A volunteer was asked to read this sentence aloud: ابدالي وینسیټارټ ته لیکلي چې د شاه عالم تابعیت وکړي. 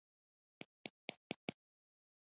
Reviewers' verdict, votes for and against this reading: rejected, 0, 2